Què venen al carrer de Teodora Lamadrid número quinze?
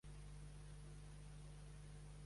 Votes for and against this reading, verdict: 0, 2, rejected